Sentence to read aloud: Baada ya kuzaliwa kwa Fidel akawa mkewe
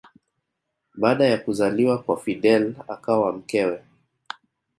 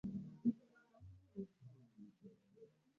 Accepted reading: first